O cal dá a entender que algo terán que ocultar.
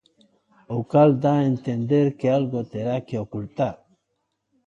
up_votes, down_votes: 0, 2